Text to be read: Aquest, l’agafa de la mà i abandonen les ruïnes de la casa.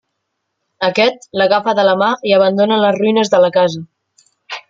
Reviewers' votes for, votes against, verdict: 2, 0, accepted